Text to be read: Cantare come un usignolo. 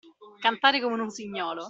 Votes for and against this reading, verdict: 2, 0, accepted